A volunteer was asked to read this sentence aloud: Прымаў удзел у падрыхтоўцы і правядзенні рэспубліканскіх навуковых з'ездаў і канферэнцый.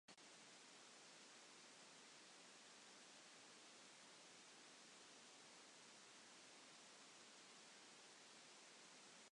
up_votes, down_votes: 0, 2